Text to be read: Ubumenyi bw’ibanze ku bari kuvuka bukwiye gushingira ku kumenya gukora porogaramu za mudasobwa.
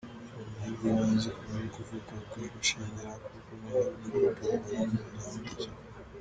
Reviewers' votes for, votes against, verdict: 0, 2, rejected